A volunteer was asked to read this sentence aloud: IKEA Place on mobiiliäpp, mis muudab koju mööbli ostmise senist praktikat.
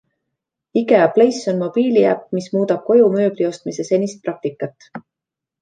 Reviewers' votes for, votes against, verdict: 2, 0, accepted